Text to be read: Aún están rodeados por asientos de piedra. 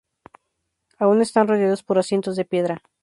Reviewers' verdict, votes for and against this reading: rejected, 0, 2